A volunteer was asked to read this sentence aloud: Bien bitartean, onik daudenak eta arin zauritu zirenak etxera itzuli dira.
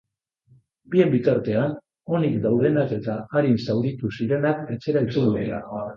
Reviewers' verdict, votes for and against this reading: rejected, 2, 2